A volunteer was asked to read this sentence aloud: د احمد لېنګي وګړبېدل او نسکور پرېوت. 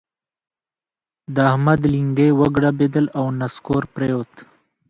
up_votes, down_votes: 0, 2